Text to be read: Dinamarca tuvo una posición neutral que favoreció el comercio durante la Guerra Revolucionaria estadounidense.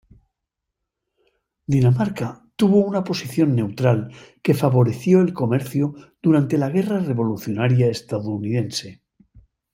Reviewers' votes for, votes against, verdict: 2, 0, accepted